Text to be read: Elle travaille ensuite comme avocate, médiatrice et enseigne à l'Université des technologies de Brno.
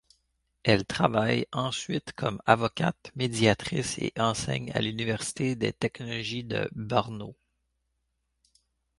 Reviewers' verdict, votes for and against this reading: accepted, 2, 0